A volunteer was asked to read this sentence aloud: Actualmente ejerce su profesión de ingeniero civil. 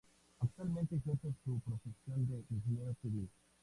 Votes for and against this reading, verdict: 2, 0, accepted